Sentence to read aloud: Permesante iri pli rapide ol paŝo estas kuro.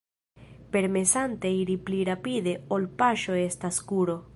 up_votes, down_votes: 2, 1